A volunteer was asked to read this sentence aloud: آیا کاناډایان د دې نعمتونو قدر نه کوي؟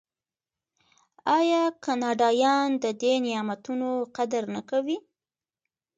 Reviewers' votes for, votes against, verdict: 3, 1, accepted